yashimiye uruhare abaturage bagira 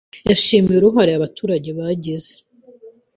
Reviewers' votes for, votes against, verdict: 0, 2, rejected